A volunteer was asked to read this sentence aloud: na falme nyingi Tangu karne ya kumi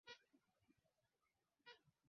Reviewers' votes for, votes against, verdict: 1, 7, rejected